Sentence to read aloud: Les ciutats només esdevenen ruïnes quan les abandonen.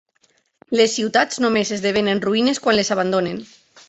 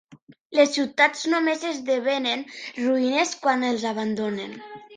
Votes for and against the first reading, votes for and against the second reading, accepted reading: 4, 0, 0, 2, first